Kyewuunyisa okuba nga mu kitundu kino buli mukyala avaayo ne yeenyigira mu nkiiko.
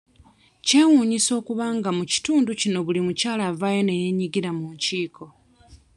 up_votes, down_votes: 2, 0